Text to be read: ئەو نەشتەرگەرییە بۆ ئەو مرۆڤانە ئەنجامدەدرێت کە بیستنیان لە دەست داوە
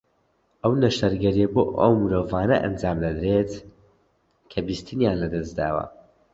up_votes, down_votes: 2, 1